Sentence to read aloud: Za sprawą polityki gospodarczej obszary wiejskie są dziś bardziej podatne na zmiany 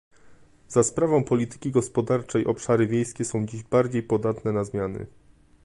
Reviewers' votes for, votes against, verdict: 0, 2, rejected